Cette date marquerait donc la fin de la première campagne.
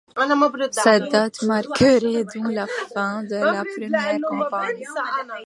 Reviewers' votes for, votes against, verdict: 1, 2, rejected